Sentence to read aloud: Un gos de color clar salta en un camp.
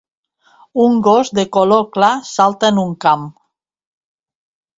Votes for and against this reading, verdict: 2, 1, accepted